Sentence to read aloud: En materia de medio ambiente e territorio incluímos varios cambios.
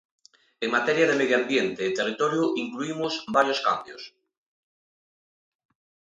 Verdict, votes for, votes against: accepted, 2, 0